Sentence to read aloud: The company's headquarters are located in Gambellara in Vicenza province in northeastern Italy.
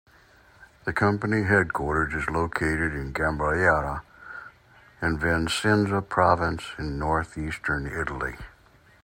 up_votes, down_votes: 2, 1